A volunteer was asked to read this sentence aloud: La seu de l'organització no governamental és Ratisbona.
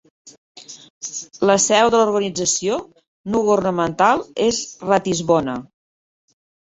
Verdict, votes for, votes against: rejected, 1, 2